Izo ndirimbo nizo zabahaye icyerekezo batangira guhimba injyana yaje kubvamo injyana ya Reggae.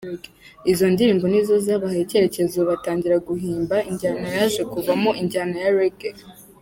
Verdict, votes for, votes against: accepted, 2, 0